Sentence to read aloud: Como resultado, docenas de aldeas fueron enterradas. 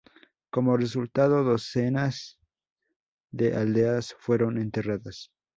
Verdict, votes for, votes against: rejected, 0, 2